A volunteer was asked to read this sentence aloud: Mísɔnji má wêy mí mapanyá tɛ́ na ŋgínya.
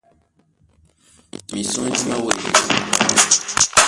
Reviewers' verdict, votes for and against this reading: rejected, 0, 2